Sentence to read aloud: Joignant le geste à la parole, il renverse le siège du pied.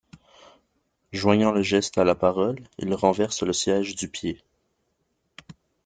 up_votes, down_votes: 2, 1